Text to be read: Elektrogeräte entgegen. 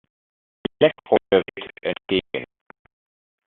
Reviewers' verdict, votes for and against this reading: rejected, 0, 2